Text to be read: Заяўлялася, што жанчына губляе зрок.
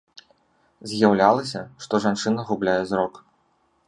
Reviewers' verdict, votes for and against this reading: rejected, 1, 2